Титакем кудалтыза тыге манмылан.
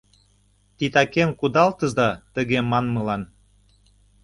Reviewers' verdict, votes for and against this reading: accepted, 2, 0